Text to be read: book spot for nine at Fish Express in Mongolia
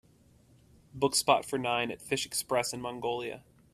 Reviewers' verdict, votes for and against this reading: accepted, 2, 0